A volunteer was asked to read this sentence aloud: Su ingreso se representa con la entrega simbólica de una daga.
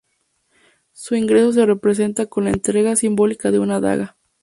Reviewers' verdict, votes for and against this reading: accepted, 2, 0